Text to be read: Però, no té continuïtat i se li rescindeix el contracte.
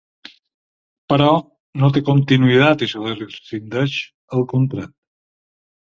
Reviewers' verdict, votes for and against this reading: rejected, 2, 4